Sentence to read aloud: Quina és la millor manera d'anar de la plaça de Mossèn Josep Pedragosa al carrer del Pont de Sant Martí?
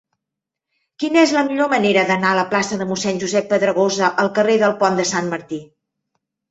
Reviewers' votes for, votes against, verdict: 3, 4, rejected